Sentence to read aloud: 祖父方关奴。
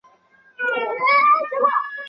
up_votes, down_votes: 1, 2